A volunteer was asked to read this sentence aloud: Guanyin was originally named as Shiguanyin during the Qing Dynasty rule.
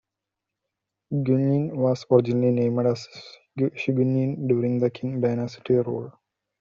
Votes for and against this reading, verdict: 1, 2, rejected